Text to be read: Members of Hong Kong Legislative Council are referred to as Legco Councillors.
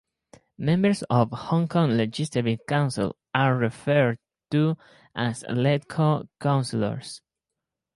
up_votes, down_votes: 4, 2